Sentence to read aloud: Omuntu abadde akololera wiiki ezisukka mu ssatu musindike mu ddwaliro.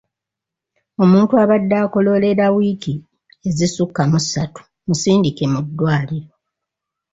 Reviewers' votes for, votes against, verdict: 2, 0, accepted